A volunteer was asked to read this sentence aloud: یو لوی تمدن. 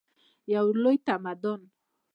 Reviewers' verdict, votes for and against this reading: rejected, 1, 2